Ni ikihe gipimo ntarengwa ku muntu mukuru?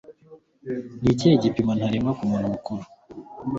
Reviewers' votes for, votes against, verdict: 2, 0, accepted